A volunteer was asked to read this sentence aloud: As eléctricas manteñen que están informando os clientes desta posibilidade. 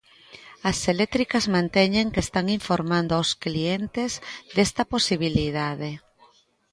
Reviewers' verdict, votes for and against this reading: accepted, 2, 1